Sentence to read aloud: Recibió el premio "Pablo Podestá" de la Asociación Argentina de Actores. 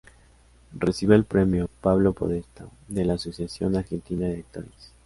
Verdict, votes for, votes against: accepted, 3, 0